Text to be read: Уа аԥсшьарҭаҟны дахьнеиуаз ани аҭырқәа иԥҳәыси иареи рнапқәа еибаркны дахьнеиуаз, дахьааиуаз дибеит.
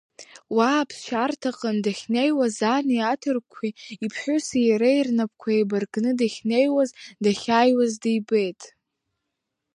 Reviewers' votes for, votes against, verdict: 2, 0, accepted